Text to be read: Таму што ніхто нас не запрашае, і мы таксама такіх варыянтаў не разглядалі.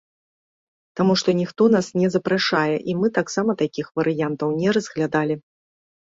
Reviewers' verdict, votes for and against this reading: accepted, 2, 0